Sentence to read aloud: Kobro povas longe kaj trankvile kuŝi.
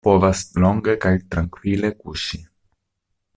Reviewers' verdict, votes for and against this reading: rejected, 1, 2